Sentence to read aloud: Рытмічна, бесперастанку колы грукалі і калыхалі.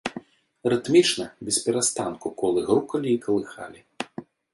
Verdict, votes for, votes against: accepted, 2, 0